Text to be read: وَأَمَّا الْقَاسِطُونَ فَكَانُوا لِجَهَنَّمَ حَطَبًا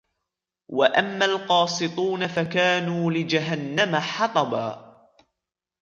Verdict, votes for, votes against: accepted, 2, 0